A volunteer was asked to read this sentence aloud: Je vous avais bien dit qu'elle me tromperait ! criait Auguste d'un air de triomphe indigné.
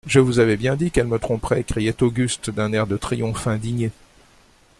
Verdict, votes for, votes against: accepted, 2, 0